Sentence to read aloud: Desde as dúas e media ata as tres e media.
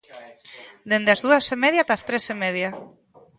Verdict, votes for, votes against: rejected, 0, 2